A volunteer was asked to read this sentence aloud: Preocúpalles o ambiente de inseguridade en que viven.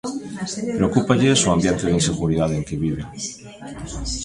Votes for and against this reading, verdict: 1, 2, rejected